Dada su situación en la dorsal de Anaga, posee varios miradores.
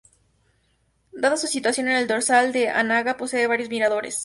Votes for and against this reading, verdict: 2, 2, rejected